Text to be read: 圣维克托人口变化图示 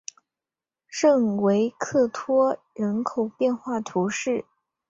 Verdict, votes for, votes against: accepted, 2, 0